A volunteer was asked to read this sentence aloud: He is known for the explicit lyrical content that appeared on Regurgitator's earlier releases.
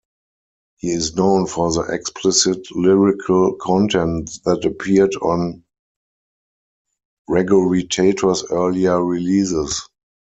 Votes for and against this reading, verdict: 0, 4, rejected